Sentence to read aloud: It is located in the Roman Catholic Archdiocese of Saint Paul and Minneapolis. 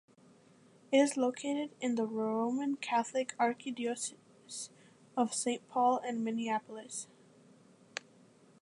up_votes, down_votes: 0, 2